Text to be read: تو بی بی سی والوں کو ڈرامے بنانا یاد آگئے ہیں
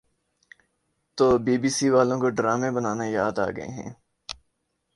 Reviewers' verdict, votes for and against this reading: accepted, 3, 0